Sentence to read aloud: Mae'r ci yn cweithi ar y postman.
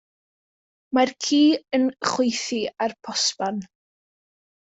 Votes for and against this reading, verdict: 0, 2, rejected